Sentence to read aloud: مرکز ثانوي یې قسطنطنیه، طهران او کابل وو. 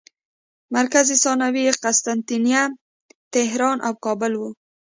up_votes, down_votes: 2, 0